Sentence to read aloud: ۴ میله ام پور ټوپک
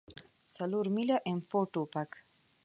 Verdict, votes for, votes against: rejected, 0, 2